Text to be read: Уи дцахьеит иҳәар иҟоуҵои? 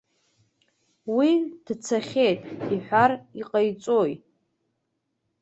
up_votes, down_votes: 1, 2